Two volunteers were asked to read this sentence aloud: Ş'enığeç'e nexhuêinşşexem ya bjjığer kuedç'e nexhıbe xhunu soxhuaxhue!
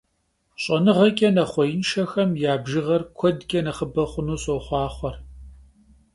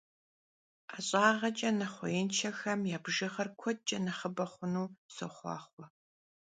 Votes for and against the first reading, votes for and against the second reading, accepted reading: 3, 0, 1, 2, first